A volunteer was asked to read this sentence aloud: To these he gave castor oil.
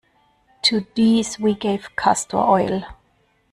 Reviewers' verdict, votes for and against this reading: rejected, 1, 2